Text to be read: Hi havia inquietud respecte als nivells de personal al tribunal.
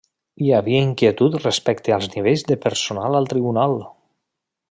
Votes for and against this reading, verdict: 3, 0, accepted